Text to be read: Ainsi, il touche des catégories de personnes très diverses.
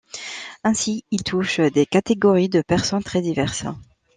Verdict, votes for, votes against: accepted, 2, 0